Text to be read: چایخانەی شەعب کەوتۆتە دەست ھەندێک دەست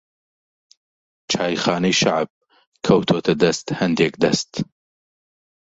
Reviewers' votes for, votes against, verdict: 0, 2, rejected